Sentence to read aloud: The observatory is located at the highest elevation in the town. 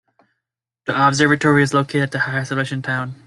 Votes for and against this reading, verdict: 1, 2, rejected